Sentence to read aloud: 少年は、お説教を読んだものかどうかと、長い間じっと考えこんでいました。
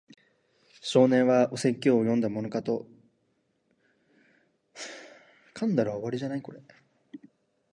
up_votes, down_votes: 0, 2